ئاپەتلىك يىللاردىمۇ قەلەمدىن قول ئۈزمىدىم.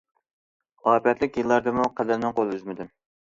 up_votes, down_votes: 1, 2